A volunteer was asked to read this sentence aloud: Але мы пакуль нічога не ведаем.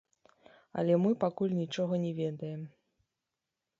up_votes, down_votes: 0, 2